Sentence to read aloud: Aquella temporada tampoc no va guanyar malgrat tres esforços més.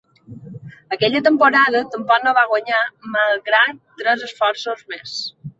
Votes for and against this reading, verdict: 3, 0, accepted